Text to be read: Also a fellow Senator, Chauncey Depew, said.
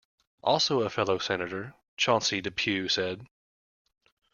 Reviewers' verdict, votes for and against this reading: accepted, 2, 0